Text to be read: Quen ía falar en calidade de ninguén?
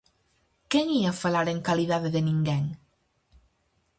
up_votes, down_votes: 4, 0